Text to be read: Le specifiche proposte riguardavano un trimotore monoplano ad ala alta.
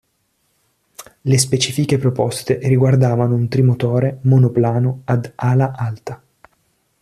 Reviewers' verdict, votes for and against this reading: accepted, 2, 0